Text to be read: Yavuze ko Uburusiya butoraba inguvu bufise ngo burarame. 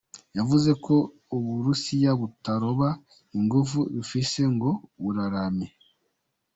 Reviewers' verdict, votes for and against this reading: rejected, 1, 2